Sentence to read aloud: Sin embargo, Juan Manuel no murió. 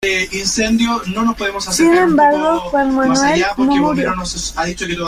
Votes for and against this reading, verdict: 0, 2, rejected